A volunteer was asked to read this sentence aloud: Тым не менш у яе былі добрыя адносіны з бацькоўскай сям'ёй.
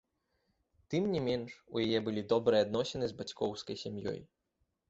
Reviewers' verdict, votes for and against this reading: accepted, 2, 0